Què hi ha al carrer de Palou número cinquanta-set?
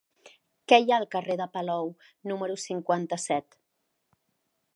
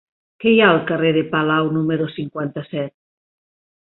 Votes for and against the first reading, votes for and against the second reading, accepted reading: 3, 0, 2, 3, first